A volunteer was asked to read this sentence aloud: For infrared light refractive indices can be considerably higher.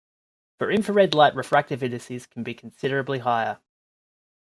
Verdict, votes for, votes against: rejected, 0, 2